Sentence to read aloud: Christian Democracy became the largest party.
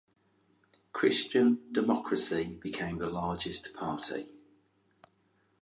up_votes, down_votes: 4, 0